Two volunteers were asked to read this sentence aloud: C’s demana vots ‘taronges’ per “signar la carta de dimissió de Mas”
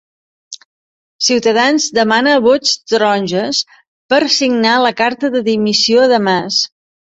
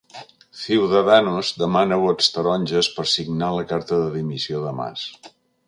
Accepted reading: first